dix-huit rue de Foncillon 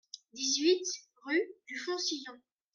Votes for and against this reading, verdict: 0, 2, rejected